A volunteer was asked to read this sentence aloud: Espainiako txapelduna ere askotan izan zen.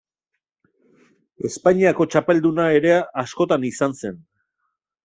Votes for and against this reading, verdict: 2, 1, accepted